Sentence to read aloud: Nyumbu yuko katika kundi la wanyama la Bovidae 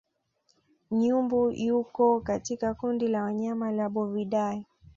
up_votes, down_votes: 3, 0